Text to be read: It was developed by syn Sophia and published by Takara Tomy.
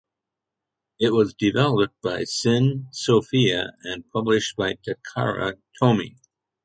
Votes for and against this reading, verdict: 3, 0, accepted